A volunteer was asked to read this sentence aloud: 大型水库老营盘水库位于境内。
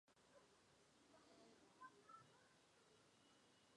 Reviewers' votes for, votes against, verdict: 0, 4, rejected